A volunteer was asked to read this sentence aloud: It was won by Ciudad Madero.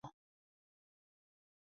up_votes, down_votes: 0, 2